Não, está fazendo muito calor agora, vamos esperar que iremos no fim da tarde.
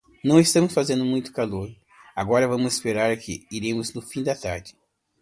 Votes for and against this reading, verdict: 2, 0, accepted